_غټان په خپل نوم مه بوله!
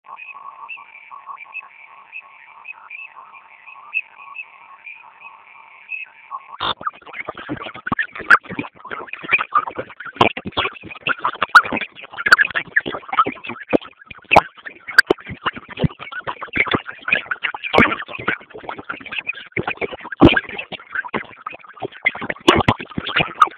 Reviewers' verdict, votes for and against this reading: rejected, 0, 2